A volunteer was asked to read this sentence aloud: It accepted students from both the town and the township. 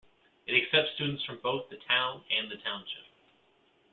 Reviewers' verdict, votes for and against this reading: rejected, 1, 2